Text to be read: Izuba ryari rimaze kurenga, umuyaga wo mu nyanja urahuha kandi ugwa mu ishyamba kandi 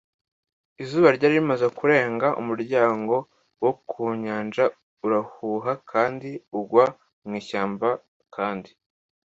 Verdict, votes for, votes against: rejected, 1, 2